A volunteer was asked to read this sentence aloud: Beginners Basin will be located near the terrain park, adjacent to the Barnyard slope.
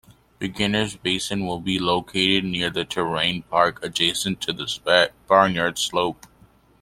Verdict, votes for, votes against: rejected, 0, 2